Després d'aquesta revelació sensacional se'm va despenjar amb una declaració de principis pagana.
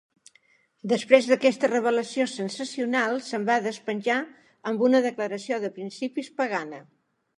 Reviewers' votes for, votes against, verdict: 3, 0, accepted